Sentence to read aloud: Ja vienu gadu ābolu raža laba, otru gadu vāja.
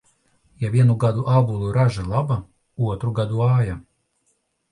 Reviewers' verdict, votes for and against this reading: accepted, 2, 0